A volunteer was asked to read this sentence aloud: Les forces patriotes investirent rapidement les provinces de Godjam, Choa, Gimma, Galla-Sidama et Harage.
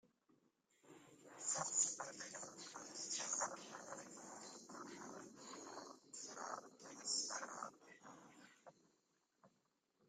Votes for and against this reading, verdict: 0, 2, rejected